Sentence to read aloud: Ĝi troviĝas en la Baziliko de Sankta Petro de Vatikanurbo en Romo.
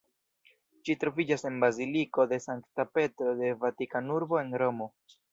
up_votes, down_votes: 0, 2